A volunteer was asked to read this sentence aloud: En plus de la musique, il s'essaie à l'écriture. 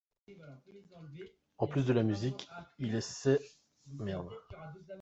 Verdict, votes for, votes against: rejected, 0, 2